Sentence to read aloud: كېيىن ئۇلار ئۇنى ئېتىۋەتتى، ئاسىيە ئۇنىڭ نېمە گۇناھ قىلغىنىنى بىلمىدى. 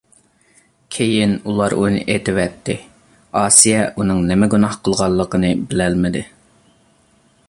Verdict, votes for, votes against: rejected, 1, 2